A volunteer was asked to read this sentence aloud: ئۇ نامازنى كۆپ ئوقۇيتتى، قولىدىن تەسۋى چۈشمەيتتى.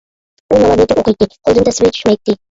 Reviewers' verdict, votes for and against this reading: rejected, 0, 2